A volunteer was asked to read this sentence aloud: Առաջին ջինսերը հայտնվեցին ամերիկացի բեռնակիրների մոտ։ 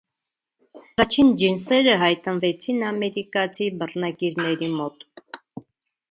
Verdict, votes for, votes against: rejected, 1, 2